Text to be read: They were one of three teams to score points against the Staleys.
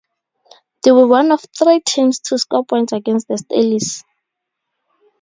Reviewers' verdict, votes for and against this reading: accepted, 2, 0